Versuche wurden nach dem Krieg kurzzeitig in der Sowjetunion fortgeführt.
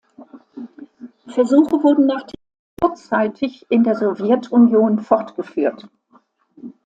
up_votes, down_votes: 0, 2